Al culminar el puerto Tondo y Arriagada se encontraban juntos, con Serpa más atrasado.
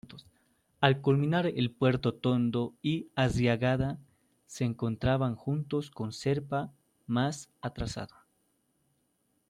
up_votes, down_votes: 0, 2